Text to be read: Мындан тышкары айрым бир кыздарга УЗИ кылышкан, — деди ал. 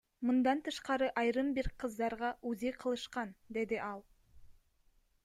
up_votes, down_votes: 2, 1